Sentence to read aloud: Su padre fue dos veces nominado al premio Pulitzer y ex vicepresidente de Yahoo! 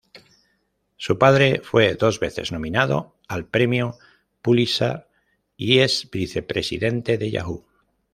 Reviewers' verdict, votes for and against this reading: rejected, 1, 2